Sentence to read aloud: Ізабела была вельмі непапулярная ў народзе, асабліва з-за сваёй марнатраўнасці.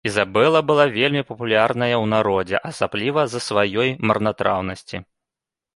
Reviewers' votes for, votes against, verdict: 0, 2, rejected